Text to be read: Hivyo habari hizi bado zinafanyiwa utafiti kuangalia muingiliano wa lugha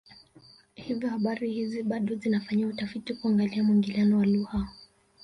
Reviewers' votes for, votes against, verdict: 0, 2, rejected